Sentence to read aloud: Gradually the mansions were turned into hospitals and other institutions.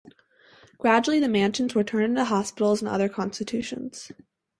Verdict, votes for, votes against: rejected, 0, 4